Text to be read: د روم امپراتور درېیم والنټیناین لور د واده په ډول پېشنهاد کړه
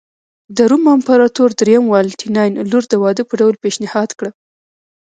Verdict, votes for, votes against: accepted, 2, 0